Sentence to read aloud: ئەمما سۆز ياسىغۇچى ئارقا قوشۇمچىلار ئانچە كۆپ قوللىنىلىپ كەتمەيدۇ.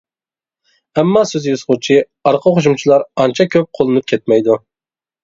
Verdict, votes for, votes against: rejected, 1, 2